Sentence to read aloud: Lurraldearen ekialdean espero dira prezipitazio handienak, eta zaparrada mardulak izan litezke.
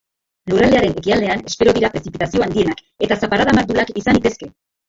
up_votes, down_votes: 1, 2